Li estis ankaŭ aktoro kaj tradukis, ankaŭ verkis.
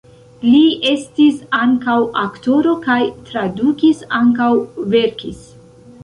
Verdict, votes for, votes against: rejected, 1, 2